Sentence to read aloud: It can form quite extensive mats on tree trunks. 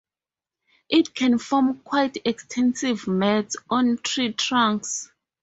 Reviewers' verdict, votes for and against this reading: rejected, 0, 2